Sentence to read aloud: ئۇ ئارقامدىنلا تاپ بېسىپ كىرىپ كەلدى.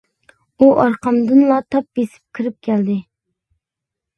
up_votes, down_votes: 2, 0